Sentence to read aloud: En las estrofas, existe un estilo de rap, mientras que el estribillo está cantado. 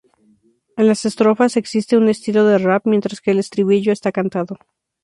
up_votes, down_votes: 4, 0